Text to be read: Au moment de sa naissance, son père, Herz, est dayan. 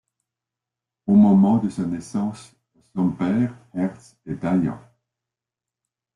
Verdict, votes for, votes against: accepted, 2, 1